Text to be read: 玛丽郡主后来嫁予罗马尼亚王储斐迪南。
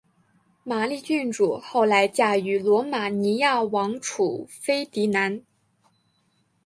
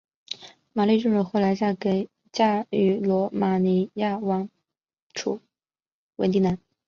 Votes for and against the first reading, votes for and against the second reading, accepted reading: 2, 1, 1, 3, first